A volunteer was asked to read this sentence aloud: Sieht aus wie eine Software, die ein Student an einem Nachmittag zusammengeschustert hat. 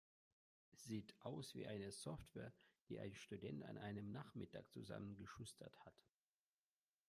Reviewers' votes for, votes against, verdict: 1, 2, rejected